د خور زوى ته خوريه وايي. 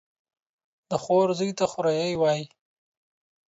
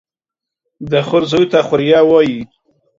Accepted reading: second